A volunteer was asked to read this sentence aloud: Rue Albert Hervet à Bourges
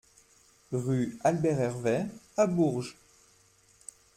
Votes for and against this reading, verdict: 2, 0, accepted